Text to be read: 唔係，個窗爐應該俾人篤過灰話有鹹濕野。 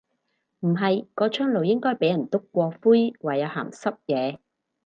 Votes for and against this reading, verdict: 4, 0, accepted